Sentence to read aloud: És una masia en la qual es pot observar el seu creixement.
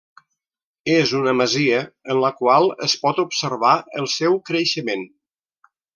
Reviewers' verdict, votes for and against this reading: accepted, 3, 0